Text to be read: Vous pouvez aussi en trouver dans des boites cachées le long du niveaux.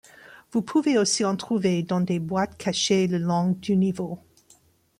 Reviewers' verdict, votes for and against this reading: accepted, 2, 0